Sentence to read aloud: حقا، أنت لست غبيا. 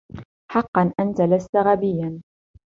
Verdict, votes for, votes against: rejected, 0, 2